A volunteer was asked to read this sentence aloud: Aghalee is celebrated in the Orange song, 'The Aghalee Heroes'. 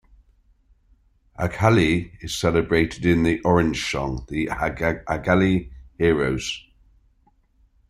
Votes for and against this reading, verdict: 0, 2, rejected